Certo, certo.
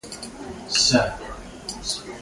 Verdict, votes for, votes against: rejected, 1, 2